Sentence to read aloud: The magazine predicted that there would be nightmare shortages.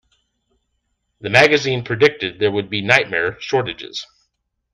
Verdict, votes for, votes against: rejected, 0, 2